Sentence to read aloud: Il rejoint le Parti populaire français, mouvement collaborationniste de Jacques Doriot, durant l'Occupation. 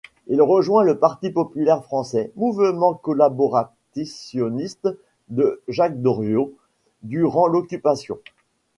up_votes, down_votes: 1, 2